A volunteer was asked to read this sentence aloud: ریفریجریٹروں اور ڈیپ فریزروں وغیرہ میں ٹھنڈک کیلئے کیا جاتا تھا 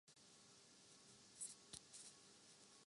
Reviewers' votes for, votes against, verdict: 0, 3, rejected